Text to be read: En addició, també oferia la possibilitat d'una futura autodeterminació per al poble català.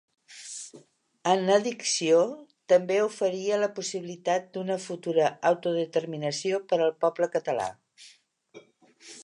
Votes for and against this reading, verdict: 0, 2, rejected